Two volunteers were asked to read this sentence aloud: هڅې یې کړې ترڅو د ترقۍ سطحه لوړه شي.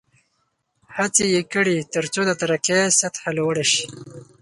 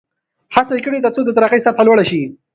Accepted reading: first